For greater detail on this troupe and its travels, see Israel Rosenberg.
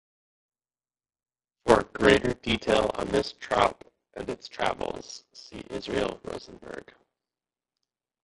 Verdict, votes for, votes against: rejected, 1, 2